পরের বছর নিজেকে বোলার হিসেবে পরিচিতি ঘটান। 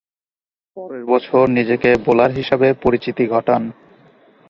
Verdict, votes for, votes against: accepted, 2, 0